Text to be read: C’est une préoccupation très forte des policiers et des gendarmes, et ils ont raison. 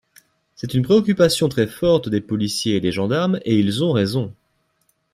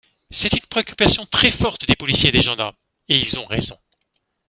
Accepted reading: first